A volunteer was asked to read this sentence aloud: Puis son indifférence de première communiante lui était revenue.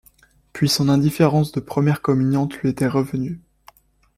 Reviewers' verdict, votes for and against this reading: accepted, 2, 0